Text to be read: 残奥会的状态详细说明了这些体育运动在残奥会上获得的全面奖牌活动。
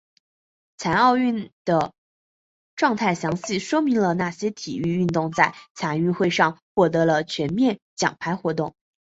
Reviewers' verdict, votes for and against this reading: rejected, 1, 2